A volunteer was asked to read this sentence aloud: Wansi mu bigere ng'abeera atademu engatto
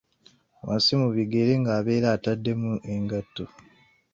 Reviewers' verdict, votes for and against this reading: accepted, 2, 0